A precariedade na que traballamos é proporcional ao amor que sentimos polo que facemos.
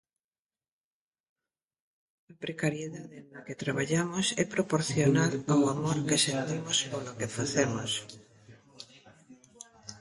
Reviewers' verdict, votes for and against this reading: rejected, 1, 2